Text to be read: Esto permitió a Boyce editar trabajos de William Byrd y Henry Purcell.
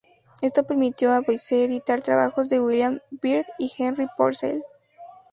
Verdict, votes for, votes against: accepted, 2, 0